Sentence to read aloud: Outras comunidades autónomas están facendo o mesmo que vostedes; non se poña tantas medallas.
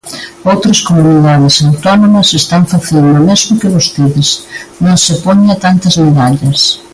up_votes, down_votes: 2, 1